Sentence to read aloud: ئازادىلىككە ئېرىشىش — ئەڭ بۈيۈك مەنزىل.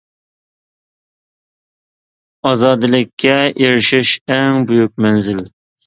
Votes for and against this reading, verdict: 2, 0, accepted